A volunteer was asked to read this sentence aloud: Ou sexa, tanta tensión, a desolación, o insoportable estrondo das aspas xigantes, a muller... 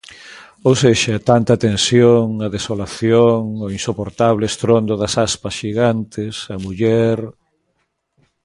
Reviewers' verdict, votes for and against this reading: accepted, 2, 0